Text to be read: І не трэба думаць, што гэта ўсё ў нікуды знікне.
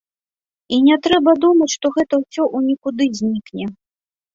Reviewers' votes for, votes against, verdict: 2, 0, accepted